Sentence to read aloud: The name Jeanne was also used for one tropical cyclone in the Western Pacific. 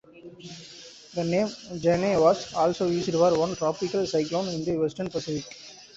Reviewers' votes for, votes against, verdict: 1, 2, rejected